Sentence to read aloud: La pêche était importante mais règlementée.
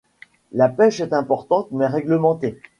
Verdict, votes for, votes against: rejected, 1, 2